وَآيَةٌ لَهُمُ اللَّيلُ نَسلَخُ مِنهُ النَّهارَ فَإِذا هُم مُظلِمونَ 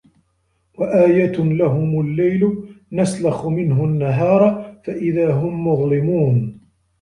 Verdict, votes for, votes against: accepted, 2, 0